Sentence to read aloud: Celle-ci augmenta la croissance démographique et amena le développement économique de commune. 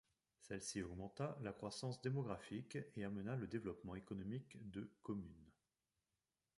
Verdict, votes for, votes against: accepted, 2, 0